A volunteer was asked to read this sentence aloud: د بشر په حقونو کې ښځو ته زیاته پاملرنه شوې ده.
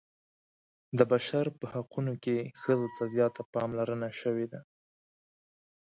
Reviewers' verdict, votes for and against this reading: accepted, 2, 0